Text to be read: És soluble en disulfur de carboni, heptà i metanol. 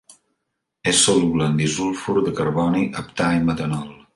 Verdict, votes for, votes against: accepted, 2, 0